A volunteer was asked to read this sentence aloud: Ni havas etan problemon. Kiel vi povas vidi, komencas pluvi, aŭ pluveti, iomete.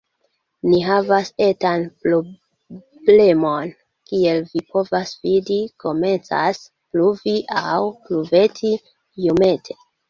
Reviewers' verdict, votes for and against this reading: accepted, 2, 1